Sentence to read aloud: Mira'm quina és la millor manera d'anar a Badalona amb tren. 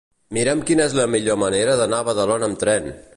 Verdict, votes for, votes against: accepted, 2, 0